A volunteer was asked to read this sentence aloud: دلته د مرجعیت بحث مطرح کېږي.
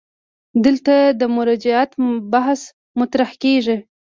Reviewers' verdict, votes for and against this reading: accepted, 2, 0